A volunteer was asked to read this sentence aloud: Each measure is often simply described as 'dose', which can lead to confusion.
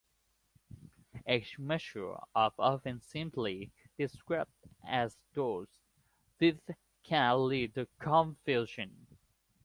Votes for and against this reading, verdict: 0, 3, rejected